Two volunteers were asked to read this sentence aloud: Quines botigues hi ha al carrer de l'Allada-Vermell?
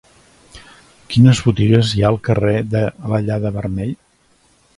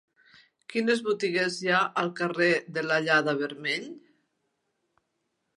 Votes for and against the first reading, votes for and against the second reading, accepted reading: 1, 2, 3, 0, second